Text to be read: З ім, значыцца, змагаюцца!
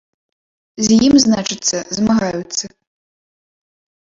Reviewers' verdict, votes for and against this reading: rejected, 0, 2